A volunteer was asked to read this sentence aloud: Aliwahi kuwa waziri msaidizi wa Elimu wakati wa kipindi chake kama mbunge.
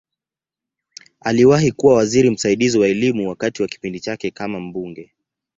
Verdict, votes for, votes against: accepted, 2, 0